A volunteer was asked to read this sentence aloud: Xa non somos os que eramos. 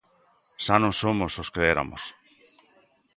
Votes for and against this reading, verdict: 1, 2, rejected